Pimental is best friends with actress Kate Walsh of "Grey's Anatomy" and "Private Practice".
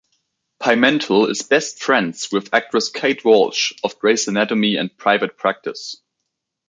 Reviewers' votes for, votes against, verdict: 2, 0, accepted